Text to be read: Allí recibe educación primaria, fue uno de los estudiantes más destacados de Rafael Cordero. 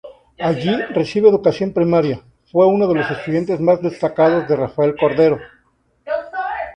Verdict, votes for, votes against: rejected, 0, 2